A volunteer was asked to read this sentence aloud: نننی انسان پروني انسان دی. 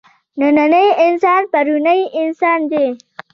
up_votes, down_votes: 2, 0